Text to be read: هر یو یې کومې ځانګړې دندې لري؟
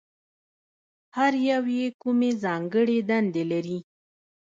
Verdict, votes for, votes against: rejected, 1, 2